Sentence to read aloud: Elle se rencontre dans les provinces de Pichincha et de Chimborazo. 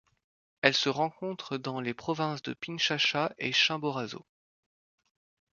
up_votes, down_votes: 1, 2